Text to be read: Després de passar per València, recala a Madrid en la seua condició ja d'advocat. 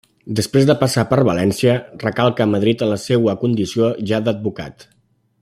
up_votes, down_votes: 0, 2